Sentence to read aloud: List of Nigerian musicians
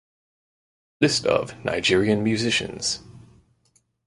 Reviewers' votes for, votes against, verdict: 4, 0, accepted